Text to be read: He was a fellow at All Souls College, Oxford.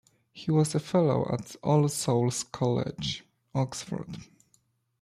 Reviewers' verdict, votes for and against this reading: accepted, 2, 0